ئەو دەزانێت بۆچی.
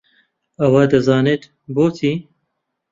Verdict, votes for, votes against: rejected, 0, 2